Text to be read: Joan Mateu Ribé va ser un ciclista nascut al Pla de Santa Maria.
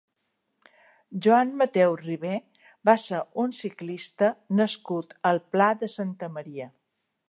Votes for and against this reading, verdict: 2, 0, accepted